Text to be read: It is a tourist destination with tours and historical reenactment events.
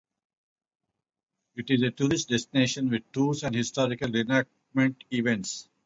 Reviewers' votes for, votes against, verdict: 0, 2, rejected